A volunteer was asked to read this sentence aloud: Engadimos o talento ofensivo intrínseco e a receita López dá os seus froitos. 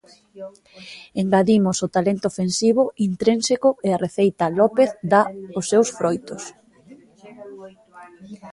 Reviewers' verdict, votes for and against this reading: rejected, 1, 2